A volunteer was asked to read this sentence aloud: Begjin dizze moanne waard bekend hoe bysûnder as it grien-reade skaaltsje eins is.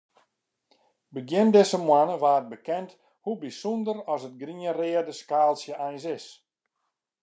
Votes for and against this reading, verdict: 2, 0, accepted